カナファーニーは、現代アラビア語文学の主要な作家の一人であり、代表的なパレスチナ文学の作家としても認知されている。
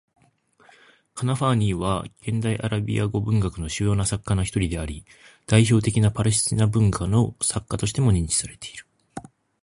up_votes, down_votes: 1, 2